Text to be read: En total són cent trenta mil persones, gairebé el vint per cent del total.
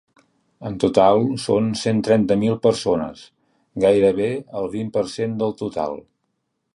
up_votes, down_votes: 2, 0